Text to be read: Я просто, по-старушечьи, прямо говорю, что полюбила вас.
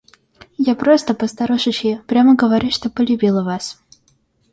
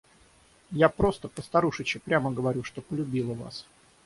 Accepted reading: first